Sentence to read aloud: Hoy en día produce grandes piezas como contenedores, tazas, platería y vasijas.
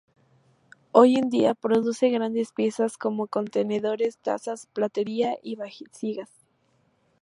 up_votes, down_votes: 0, 2